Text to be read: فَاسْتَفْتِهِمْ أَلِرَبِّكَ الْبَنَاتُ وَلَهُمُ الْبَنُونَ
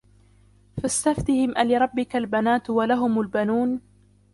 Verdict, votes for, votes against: rejected, 0, 2